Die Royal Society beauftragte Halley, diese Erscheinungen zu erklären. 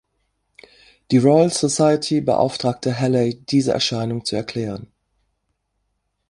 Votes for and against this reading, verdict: 3, 5, rejected